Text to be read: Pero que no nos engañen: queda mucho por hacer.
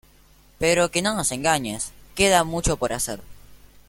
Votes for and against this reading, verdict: 1, 2, rejected